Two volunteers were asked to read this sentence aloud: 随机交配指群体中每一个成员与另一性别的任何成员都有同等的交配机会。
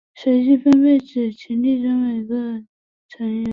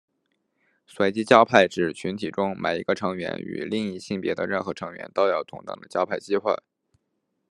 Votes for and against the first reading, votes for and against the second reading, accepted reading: 1, 3, 2, 0, second